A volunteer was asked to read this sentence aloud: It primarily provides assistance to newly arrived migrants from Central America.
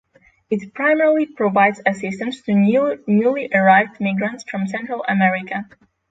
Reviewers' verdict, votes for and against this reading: accepted, 6, 3